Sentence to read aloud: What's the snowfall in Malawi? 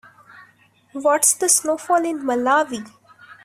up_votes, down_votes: 2, 0